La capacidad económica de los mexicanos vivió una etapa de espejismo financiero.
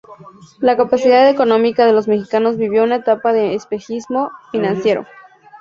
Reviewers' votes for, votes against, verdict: 2, 0, accepted